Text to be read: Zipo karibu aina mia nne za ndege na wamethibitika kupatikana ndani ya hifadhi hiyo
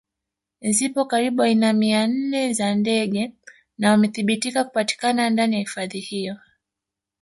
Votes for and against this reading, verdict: 0, 2, rejected